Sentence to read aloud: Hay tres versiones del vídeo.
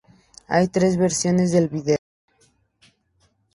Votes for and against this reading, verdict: 2, 0, accepted